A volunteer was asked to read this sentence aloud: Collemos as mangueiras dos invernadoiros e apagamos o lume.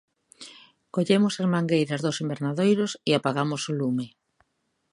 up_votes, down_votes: 2, 0